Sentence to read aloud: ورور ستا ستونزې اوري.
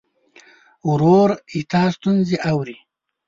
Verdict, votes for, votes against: rejected, 0, 2